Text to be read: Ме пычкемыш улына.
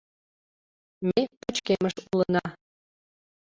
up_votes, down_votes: 1, 2